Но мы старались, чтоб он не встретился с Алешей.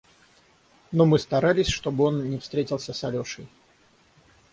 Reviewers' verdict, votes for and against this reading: rejected, 3, 3